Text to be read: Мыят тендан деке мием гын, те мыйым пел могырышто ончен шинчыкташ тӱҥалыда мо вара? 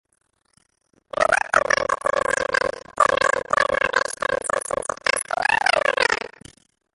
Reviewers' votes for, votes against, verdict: 1, 2, rejected